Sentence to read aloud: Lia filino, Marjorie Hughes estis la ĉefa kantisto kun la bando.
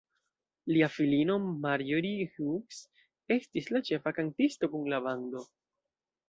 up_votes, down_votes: 1, 2